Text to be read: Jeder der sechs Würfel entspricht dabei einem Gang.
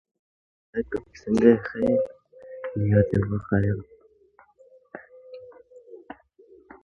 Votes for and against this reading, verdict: 0, 2, rejected